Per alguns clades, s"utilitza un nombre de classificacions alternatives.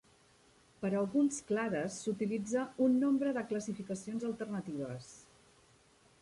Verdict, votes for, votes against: accepted, 3, 0